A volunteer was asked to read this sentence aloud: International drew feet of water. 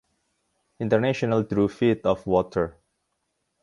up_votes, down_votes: 2, 0